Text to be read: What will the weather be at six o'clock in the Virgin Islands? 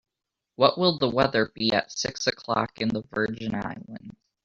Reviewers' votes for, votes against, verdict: 3, 0, accepted